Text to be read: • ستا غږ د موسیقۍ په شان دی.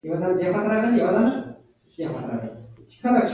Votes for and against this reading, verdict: 0, 2, rejected